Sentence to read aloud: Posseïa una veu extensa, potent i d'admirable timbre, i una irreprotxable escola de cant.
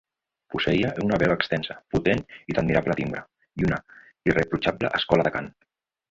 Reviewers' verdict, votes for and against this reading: rejected, 0, 2